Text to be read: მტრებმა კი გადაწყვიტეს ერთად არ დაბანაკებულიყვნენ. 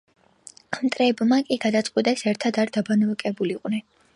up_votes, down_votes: 2, 0